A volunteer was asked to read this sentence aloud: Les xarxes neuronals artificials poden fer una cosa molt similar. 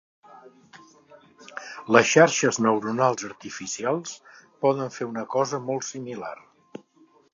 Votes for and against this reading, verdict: 2, 0, accepted